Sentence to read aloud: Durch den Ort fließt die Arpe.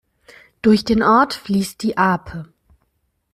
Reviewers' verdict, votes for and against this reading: accepted, 2, 0